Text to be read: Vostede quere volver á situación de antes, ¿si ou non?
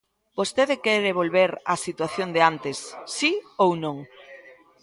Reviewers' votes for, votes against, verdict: 1, 2, rejected